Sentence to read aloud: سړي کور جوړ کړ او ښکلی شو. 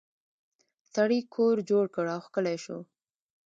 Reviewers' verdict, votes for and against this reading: rejected, 1, 2